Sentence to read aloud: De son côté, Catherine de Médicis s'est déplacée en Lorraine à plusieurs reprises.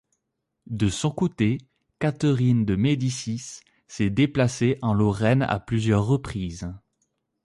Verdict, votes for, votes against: accepted, 2, 0